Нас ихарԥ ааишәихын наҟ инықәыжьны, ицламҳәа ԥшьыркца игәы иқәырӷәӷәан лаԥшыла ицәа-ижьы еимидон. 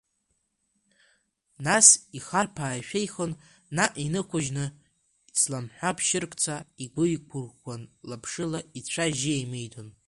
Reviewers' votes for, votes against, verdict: 0, 2, rejected